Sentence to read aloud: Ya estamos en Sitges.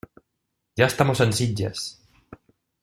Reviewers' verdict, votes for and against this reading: accepted, 2, 0